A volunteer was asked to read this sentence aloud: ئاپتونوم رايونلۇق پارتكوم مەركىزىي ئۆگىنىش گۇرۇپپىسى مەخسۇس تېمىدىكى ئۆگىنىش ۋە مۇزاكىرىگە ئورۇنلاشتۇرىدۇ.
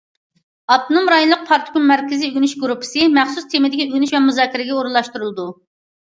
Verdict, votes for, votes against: accepted, 2, 0